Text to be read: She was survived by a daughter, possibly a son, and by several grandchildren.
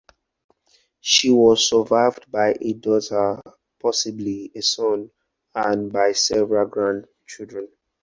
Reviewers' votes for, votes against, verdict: 4, 0, accepted